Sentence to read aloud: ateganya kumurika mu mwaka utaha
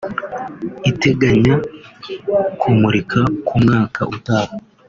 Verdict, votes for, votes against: rejected, 1, 2